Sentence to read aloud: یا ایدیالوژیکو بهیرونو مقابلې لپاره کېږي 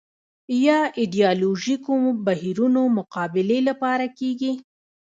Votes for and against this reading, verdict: 0, 2, rejected